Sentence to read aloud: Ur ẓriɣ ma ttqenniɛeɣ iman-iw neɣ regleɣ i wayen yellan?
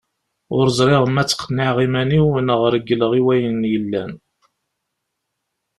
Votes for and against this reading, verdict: 2, 0, accepted